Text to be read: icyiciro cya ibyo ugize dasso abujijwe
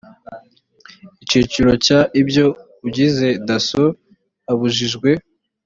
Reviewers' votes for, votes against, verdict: 2, 1, accepted